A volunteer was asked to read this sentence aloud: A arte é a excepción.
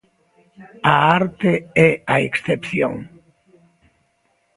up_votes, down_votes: 2, 0